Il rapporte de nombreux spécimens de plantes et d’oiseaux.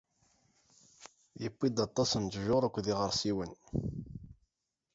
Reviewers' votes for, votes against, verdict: 0, 2, rejected